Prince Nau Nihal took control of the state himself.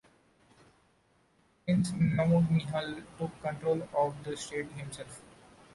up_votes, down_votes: 2, 0